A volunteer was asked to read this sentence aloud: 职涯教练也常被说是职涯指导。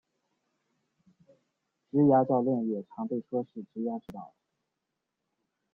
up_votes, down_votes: 2, 3